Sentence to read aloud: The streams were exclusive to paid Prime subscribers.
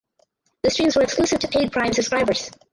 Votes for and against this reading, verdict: 4, 0, accepted